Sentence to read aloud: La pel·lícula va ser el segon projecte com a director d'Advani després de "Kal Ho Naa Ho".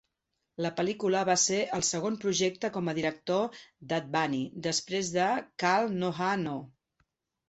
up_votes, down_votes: 3, 4